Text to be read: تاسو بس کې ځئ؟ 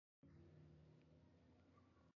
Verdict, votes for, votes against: rejected, 1, 2